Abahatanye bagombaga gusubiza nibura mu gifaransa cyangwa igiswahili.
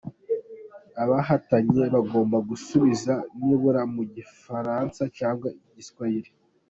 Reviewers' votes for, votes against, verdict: 2, 1, accepted